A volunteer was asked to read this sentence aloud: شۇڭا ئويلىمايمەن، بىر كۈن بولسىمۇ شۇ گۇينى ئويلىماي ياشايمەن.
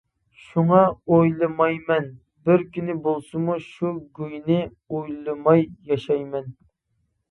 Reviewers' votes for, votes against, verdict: 0, 2, rejected